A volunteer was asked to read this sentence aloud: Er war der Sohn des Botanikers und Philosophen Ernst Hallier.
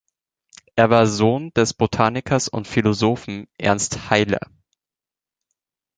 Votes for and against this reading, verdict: 0, 2, rejected